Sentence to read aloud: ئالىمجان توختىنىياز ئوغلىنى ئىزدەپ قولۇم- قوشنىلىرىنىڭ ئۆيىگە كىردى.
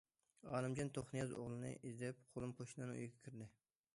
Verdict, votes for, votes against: rejected, 1, 2